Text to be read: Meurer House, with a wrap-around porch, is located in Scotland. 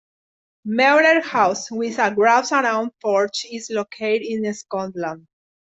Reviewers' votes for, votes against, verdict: 2, 1, accepted